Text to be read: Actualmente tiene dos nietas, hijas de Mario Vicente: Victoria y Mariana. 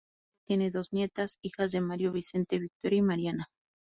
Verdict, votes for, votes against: rejected, 0, 2